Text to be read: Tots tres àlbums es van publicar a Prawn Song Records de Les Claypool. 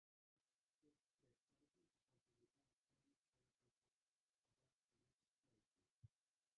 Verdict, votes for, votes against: rejected, 0, 2